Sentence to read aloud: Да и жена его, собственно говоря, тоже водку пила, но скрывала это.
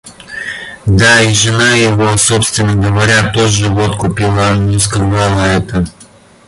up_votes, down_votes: 1, 2